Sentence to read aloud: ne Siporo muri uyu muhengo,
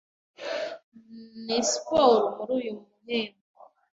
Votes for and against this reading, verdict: 1, 2, rejected